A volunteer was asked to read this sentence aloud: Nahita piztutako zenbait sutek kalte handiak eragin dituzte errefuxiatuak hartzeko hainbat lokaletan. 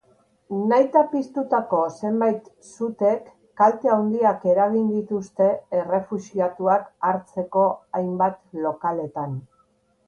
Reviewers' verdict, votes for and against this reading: rejected, 1, 2